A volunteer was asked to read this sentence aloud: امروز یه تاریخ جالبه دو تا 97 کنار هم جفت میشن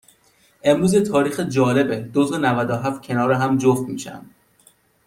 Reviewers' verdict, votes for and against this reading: rejected, 0, 2